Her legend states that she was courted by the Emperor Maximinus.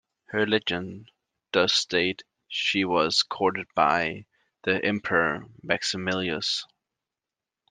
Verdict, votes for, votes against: rejected, 1, 2